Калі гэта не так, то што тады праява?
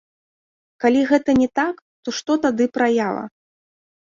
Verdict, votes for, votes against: accepted, 2, 0